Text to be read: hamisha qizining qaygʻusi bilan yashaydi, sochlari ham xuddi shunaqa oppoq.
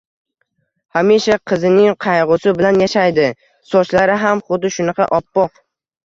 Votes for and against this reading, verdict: 1, 2, rejected